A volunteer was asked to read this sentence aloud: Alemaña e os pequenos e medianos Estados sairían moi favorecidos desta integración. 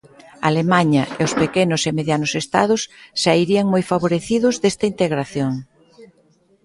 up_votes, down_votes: 1, 2